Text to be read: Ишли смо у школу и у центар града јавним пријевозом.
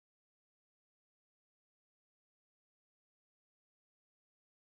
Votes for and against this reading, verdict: 0, 2, rejected